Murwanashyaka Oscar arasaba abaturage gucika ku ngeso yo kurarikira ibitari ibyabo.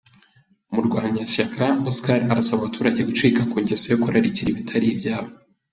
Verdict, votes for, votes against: accepted, 2, 0